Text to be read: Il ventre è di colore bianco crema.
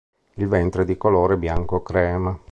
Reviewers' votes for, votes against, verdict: 1, 2, rejected